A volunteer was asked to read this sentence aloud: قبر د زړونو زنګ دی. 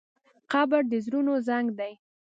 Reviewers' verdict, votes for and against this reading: accepted, 2, 0